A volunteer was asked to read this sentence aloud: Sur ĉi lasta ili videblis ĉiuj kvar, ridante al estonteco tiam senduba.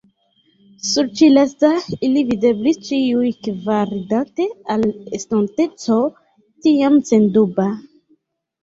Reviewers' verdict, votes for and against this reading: rejected, 0, 2